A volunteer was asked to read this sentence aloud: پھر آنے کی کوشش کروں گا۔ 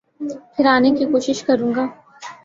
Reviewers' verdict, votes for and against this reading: accepted, 4, 1